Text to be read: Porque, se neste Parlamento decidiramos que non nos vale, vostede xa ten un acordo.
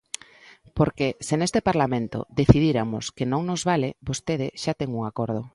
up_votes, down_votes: 1, 2